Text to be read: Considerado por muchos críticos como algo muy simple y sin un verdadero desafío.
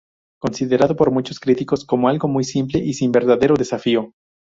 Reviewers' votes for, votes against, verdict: 2, 0, accepted